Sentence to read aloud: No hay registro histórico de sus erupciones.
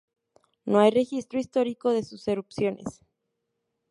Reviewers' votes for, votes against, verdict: 6, 0, accepted